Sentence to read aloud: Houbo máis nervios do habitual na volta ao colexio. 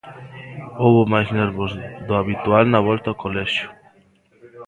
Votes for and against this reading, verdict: 1, 2, rejected